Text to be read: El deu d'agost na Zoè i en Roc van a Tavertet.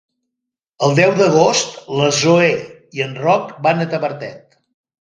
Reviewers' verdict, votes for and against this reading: rejected, 0, 2